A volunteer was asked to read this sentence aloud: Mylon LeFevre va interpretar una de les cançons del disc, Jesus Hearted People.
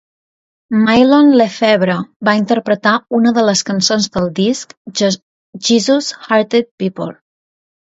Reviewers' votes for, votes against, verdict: 1, 2, rejected